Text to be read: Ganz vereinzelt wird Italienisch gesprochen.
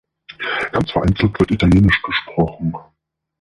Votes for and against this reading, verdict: 0, 2, rejected